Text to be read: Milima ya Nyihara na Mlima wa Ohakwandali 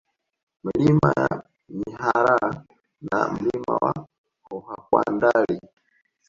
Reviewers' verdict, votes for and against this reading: rejected, 0, 2